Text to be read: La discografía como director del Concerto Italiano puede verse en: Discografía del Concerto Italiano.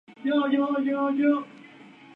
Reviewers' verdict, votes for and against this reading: rejected, 0, 4